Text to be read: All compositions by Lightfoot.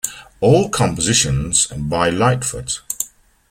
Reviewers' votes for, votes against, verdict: 2, 0, accepted